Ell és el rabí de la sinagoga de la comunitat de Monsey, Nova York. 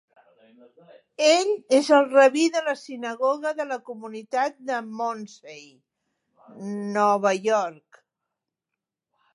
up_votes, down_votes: 1, 2